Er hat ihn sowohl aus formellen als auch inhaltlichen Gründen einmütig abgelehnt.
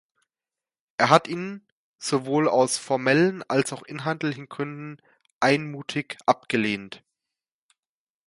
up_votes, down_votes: 0, 2